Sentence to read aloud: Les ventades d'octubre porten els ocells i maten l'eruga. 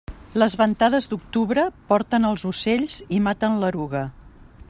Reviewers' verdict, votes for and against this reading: accepted, 3, 0